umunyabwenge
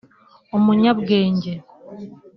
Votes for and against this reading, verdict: 2, 1, accepted